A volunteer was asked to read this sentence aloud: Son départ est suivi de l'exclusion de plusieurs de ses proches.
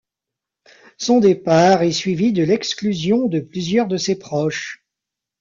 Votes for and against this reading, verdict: 1, 2, rejected